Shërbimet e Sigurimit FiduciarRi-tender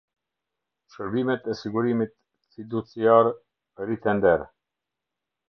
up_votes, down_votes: 0, 2